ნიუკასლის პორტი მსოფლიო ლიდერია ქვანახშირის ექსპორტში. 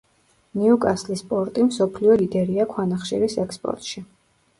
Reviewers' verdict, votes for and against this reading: accepted, 2, 0